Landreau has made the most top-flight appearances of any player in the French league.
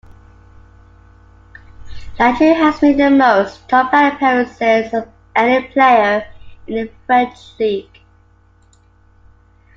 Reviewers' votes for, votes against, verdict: 2, 1, accepted